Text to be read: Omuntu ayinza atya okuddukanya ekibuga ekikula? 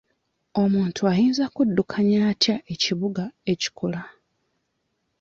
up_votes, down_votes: 0, 2